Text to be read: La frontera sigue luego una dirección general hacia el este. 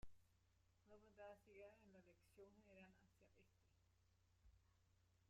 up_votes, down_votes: 0, 2